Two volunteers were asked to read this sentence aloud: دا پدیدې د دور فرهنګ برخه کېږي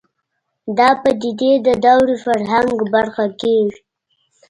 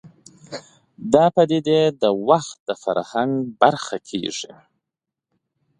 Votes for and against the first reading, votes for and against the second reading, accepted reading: 1, 2, 2, 1, second